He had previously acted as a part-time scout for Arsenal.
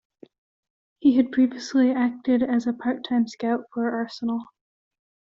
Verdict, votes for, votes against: accepted, 2, 0